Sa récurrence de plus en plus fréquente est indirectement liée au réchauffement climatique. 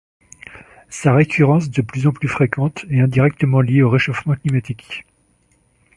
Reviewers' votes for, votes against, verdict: 2, 0, accepted